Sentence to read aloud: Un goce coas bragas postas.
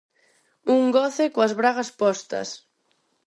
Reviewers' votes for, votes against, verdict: 4, 0, accepted